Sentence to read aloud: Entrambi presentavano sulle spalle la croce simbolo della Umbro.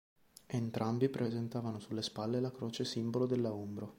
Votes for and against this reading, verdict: 2, 0, accepted